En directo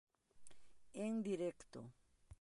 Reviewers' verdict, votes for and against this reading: rejected, 1, 2